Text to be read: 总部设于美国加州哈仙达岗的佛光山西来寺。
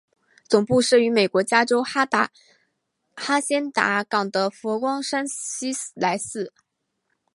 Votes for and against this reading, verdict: 2, 0, accepted